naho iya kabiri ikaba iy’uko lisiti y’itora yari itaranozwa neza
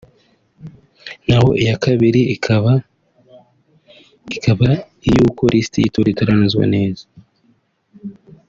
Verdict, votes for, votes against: rejected, 0, 2